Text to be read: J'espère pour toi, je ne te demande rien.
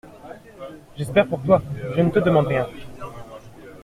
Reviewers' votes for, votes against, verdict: 2, 0, accepted